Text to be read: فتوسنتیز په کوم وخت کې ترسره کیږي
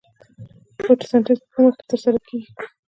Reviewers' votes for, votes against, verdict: 2, 0, accepted